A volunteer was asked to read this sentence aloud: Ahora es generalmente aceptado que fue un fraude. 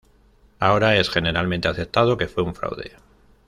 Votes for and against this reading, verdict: 2, 0, accepted